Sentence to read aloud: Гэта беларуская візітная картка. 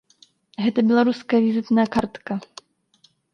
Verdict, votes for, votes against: accepted, 2, 0